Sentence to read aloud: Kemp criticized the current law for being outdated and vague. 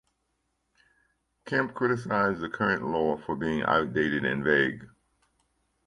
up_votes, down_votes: 2, 0